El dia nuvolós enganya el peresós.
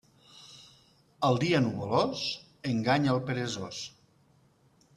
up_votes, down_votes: 2, 0